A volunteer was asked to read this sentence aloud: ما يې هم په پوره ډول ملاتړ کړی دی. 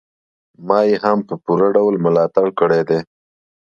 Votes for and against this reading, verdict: 2, 0, accepted